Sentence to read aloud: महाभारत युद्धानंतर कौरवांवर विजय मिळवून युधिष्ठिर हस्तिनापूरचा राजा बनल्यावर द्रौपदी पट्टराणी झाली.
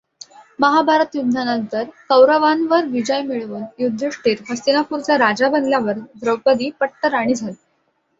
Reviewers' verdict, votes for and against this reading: accepted, 2, 0